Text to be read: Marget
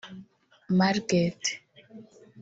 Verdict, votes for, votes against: rejected, 0, 3